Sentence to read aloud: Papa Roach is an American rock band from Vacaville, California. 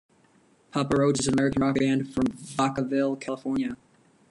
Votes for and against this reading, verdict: 1, 2, rejected